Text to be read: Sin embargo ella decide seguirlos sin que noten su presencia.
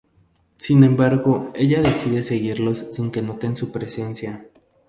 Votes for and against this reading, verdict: 2, 0, accepted